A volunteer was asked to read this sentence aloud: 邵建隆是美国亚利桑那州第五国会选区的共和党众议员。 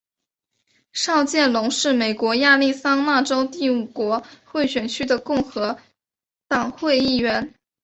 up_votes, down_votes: 0, 3